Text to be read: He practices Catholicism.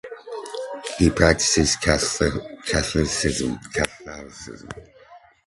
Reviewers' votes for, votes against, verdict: 0, 2, rejected